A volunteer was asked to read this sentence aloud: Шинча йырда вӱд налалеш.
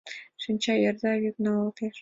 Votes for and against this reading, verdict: 2, 0, accepted